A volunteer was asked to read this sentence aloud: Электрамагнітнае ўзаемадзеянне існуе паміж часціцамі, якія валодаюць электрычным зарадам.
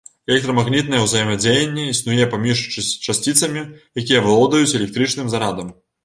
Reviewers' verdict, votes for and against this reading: rejected, 1, 3